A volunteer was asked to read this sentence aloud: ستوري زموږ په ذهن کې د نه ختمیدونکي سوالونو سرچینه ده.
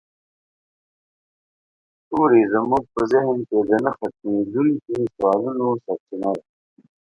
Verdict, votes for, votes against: rejected, 1, 2